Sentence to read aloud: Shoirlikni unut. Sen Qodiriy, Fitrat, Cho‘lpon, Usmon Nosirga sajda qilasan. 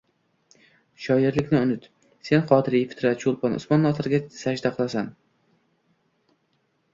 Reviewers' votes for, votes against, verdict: 2, 0, accepted